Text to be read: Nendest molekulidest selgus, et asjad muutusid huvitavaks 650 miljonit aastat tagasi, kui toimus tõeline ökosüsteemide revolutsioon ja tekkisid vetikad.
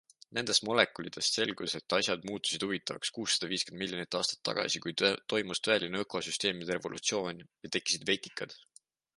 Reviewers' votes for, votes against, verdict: 0, 2, rejected